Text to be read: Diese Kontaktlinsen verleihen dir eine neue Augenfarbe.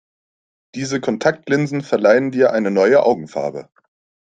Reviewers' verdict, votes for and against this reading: accepted, 2, 0